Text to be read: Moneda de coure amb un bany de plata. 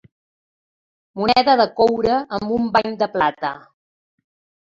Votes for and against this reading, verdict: 3, 0, accepted